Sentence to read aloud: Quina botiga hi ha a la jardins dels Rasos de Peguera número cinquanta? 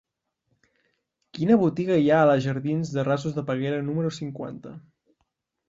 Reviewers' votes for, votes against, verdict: 2, 0, accepted